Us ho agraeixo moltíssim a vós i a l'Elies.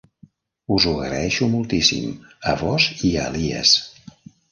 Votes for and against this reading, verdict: 0, 2, rejected